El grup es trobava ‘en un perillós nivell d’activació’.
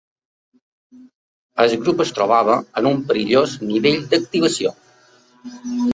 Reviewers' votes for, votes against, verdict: 2, 0, accepted